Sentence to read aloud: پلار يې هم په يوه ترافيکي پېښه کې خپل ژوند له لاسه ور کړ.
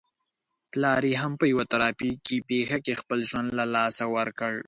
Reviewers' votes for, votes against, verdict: 2, 0, accepted